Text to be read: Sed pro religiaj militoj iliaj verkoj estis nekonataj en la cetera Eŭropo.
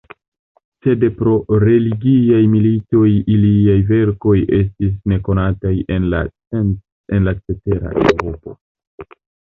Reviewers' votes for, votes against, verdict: 1, 2, rejected